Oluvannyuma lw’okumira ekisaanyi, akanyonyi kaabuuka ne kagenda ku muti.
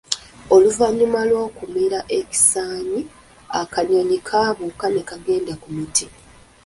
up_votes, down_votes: 2, 0